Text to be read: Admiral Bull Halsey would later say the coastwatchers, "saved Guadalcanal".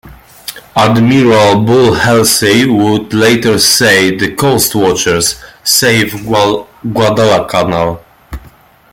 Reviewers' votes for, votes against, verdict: 0, 2, rejected